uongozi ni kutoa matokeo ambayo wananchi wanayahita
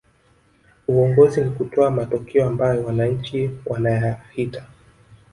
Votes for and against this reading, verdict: 4, 1, accepted